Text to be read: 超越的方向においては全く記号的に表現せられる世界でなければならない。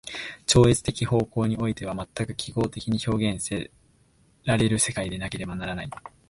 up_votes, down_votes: 0, 2